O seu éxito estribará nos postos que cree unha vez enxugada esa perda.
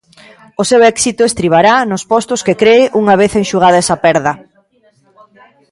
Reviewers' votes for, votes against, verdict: 2, 0, accepted